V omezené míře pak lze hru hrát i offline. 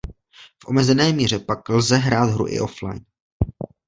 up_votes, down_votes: 1, 2